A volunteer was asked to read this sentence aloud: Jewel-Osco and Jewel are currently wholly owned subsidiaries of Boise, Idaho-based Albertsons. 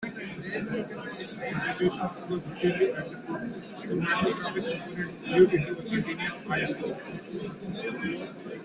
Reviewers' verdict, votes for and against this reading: rejected, 0, 2